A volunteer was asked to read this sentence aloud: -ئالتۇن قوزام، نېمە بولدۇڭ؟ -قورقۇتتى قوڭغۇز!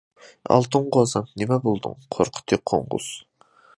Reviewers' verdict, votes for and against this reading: rejected, 0, 2